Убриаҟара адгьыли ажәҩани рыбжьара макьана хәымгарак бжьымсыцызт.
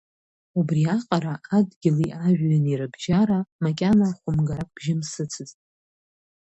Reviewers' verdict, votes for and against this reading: accepted, 2, 1